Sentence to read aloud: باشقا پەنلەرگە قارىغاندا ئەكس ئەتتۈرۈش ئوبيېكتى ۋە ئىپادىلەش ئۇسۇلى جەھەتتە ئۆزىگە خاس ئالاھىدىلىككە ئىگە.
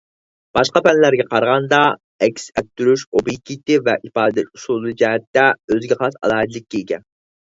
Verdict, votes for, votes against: rejected, 2, 4